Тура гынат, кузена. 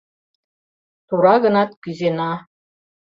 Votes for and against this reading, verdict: 0, 2, rejected